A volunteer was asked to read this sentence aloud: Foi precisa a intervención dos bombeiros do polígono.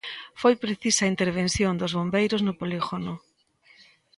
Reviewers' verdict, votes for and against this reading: rejected, 1, 2